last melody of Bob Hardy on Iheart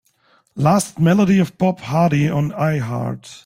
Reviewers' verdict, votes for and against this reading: accepted, 2, 0